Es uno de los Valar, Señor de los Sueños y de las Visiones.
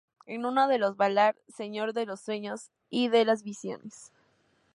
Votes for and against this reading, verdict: 0, 2, rejected